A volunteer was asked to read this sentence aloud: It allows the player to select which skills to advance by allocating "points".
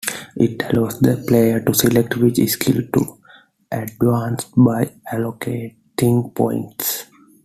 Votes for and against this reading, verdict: 1, 2, rejected